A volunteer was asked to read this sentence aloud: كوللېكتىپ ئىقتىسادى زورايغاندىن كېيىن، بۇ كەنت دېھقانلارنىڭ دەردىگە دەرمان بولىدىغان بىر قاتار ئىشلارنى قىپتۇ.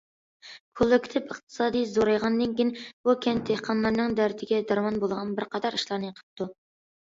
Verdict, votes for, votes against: rejected, 0, 2